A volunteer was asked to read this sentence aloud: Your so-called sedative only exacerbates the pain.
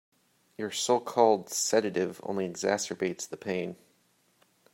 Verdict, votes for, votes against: accepted, 2, 0